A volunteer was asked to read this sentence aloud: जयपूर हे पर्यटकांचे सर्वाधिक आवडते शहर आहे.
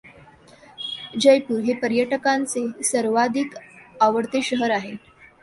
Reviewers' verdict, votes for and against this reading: accepted, 2, 0